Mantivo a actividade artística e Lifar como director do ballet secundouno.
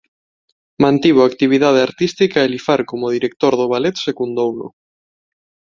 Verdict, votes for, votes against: accepted, 2, 0